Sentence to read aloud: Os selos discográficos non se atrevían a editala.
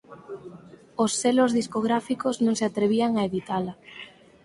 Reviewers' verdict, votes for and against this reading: accepted, 4, 0